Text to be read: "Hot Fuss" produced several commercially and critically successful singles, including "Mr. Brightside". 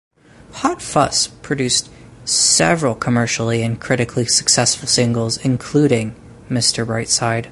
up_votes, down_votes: 0, 2